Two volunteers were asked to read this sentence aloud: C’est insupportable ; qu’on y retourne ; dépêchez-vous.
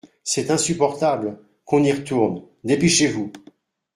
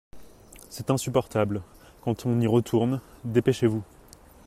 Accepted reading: first